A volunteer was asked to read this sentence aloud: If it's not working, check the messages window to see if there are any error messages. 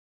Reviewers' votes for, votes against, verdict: 1, 2, rejected